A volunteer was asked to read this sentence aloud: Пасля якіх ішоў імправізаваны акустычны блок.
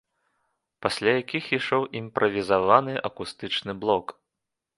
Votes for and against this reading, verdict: 2, 0, accepted